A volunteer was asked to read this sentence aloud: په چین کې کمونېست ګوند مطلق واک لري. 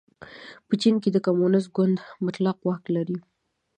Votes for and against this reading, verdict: 2, 0, accepted